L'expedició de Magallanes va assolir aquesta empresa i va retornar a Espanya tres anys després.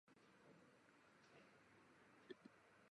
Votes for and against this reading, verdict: 0, 2, rejected